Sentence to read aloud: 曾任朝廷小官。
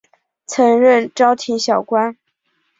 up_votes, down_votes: 0, 2